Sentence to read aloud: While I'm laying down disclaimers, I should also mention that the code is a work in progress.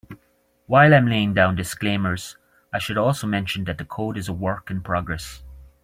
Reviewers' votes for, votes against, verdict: 3, 0, accepted